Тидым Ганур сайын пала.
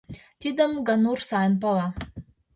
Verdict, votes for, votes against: accepted, 2, 0